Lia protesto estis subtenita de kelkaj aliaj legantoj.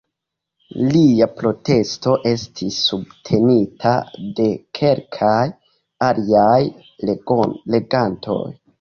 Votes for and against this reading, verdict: 2, 0, accepted